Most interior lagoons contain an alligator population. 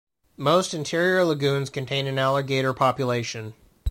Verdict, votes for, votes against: accepted, 2, 0